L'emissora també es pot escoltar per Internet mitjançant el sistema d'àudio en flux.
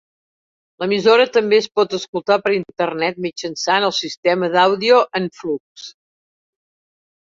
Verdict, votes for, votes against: accepted, 4, 0